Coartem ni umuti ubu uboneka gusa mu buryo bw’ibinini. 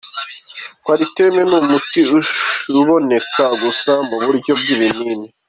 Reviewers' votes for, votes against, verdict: 1, 2, rejected